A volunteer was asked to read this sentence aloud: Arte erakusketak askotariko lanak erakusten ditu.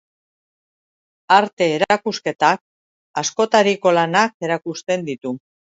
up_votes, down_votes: 2, 0